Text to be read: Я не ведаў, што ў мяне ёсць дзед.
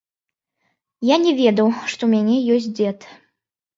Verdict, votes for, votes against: rejected, 1, 2